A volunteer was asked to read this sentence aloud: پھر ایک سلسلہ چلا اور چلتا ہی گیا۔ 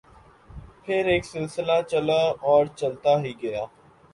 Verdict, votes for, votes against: accepted, 2, 0